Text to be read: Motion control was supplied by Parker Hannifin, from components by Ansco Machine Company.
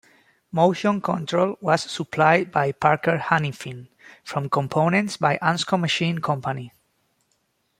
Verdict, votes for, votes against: rejected, 1, 2